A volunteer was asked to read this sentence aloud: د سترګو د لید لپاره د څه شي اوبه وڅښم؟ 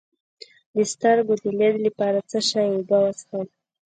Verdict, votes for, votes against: rejected, 0, 2